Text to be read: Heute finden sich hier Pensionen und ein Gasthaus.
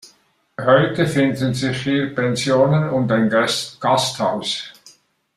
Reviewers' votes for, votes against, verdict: 0, 2, rejected